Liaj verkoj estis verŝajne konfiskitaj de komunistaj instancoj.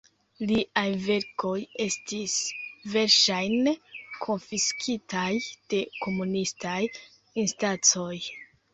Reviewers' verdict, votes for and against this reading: rejected, 1, 2